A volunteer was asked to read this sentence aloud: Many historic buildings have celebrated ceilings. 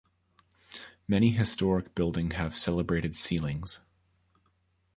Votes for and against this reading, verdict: 0, 2, rejected